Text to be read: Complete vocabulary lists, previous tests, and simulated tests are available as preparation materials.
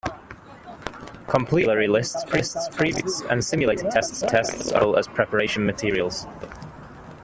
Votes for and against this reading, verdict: 0, 2, rejected